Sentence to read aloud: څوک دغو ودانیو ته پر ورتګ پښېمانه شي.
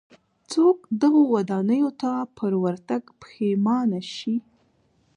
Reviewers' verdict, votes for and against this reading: rejected, 1, 2